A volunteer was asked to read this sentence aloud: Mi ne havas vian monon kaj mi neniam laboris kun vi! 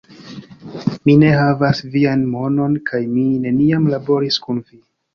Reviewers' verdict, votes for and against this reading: accepted, 2, 1